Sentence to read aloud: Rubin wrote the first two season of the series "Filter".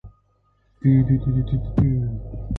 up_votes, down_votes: 0, 2